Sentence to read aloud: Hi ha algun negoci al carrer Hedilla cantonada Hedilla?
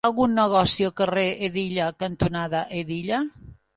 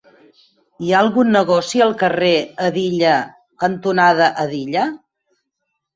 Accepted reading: second